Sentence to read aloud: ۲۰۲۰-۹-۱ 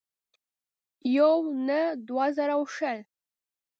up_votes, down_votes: 0, 2